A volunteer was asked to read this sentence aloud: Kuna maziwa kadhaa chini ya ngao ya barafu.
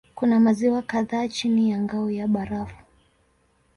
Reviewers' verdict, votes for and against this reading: accepted, 2, 0